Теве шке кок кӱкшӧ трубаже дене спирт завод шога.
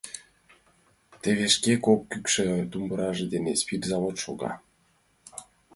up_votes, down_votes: 1, 2